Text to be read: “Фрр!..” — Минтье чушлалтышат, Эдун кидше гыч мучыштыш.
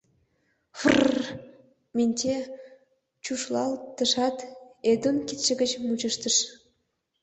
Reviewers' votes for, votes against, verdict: 2, 0, accepted